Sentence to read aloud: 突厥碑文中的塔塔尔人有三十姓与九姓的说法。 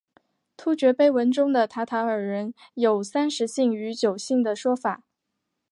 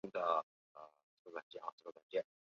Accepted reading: first